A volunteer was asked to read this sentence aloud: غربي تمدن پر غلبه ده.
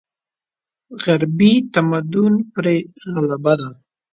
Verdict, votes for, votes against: rejected, 1, 2